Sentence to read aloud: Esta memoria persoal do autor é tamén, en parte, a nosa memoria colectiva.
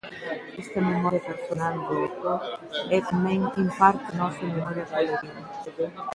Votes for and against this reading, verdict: 0, 2, rejected